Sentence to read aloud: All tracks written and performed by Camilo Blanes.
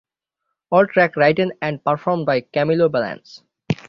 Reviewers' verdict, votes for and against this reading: rejected, 3, 6